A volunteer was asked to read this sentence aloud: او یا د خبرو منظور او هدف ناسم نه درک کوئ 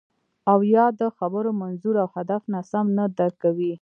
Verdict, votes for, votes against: accepted, 2, 0